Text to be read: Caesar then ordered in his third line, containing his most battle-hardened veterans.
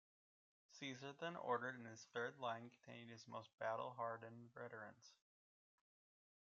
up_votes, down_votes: 2, 1